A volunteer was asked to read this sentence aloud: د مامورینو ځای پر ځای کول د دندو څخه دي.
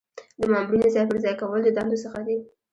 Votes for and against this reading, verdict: 2, 0, accepted